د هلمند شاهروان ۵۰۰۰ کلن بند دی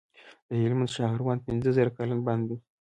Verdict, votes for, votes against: rejected, 0, 2